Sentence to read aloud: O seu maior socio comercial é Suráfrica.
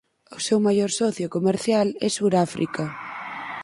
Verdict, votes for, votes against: accepted, 4, 0